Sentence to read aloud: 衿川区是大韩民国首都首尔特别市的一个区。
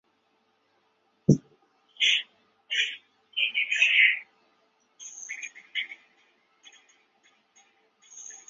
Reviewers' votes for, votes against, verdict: 0, 3, rejected